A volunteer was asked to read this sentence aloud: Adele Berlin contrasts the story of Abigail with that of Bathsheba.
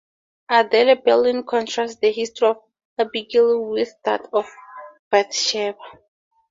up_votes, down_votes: 0, 2